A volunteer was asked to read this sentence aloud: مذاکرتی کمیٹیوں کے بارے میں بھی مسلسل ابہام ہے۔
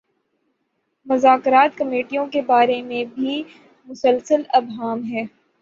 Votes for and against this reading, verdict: 0, 3, rejected